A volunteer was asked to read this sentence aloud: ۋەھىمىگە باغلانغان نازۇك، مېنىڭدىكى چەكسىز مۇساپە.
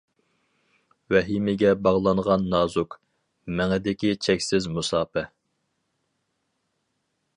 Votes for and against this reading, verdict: 0, 2, rejected